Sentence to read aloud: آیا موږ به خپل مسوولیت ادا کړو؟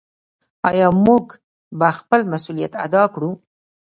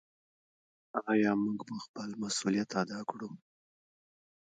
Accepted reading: second